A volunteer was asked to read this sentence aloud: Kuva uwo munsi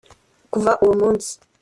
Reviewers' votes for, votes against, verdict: 2, 0, accepted